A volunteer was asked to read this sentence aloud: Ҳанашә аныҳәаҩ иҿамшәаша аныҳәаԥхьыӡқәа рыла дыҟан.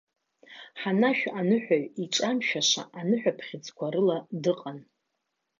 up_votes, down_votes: 2, 0